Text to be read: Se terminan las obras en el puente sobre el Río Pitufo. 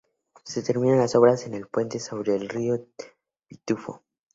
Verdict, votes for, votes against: accepted, 2, 0